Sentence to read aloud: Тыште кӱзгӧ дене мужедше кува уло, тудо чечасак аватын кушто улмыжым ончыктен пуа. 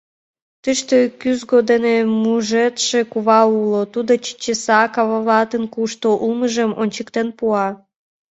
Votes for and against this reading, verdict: 1, 2, rejected